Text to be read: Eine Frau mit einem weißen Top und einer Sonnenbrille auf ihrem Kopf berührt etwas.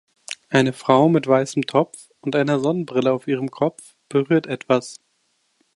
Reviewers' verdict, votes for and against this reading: rejected, 1, 2